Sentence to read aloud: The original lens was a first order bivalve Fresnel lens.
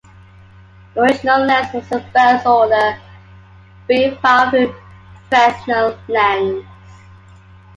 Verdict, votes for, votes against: rejected, 1, 2